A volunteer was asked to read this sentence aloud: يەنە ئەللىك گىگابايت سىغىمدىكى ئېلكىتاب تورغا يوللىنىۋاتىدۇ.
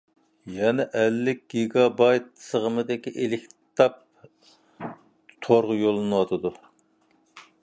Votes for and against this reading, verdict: 2, 0, accepted